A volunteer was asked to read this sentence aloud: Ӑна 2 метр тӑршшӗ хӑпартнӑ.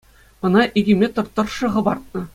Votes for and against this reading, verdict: 0, 2, rejected